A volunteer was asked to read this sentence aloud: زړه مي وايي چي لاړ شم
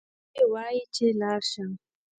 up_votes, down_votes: 1, 2